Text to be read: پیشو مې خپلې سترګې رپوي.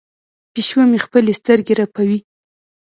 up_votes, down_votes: 1, 2